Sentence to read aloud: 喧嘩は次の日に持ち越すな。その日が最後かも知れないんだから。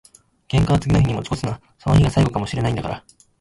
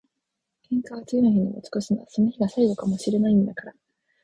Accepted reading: second